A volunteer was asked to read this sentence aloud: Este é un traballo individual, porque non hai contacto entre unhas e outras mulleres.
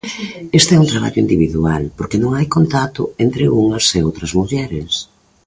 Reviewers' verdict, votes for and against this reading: accepted, 2, 1